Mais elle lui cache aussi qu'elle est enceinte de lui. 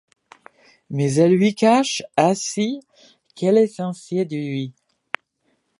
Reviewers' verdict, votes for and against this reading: rejected, 0, 2